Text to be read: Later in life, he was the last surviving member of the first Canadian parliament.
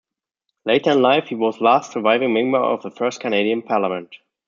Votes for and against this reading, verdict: 1, 2, rejected